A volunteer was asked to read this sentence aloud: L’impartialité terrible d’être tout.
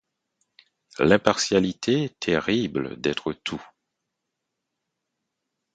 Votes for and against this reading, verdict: 4, 0, accepted